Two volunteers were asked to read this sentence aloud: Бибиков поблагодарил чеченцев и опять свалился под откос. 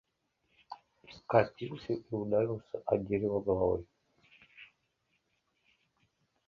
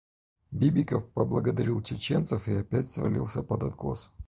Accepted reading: second